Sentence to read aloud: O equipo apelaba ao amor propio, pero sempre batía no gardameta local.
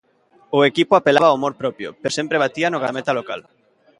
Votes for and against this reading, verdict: 1, 2, rejected